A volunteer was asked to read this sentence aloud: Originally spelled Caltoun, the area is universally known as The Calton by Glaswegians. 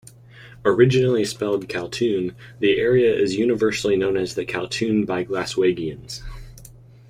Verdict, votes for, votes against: rejected, 1, 2